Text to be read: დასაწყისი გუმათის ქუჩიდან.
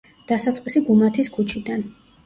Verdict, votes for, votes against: accepted, 2, 0